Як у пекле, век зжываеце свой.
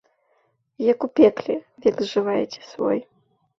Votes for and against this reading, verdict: 2, 0, accepted